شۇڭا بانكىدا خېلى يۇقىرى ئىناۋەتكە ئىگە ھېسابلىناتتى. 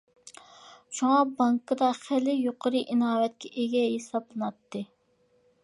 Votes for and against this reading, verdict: 2, 0, accepted